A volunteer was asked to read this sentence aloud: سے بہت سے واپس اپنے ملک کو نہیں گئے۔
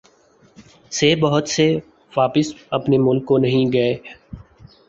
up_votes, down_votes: 2, 0